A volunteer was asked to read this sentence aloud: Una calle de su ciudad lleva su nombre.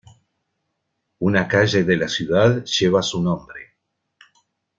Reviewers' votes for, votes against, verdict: 0, 2, rejected